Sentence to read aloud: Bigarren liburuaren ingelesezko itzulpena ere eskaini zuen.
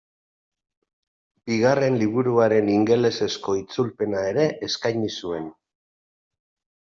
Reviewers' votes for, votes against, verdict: 2, 0, accepted